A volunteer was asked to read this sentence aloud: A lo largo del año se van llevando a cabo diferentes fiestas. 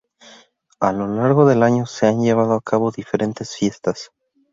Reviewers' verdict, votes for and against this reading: rejected, 0, 2